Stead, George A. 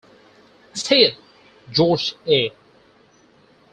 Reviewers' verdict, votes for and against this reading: rejected, 2, 4